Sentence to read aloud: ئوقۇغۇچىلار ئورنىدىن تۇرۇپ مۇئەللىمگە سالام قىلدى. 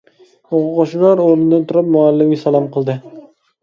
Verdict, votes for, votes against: accepted, 2, 0